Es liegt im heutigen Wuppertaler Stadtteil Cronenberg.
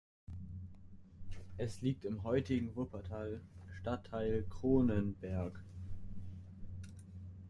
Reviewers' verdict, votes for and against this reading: accepted, 2, 0